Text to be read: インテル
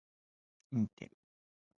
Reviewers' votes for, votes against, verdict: 0, 2, rejected